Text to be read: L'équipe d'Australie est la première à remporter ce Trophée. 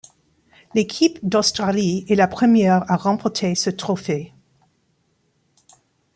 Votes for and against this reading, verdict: 2, 0, accepted